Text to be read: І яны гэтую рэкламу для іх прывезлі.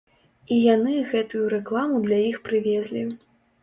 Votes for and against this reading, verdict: 2, 0, accepted